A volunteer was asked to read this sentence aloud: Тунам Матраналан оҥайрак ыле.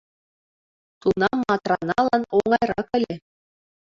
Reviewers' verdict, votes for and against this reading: accepted, 2, 1